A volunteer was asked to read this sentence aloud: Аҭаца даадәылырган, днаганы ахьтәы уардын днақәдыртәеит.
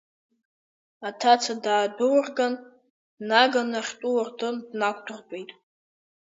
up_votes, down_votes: 0, 2